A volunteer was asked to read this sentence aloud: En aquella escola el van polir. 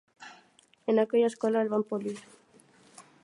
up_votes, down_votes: 2, 0